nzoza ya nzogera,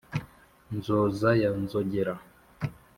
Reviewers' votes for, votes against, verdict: 3, 0, accepted